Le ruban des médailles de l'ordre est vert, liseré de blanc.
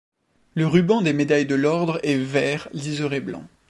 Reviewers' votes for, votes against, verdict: 1, 2, rejected